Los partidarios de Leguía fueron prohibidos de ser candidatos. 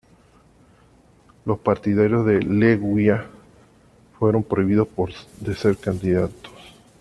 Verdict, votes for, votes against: rejected, 0, 2